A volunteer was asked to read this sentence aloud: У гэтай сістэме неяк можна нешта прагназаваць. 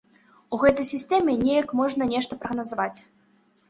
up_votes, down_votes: 2, 0